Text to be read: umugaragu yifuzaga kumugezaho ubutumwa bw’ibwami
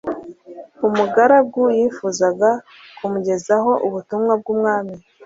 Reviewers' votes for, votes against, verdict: 1, 2, rejected